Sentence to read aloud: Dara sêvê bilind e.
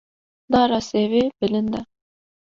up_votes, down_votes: 2, 0